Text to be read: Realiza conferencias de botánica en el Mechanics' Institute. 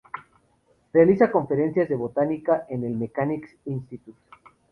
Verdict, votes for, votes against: accepted, 2, 0